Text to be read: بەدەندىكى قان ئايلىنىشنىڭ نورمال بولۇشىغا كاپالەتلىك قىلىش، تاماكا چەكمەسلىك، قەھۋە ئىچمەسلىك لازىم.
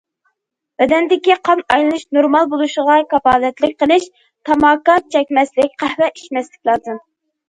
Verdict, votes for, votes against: rejected, 1, 2